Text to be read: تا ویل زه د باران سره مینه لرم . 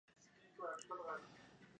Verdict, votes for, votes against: rejected, 0, 2